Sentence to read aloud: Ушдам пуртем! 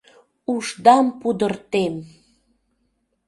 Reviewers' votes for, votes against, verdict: 0, 2, rejected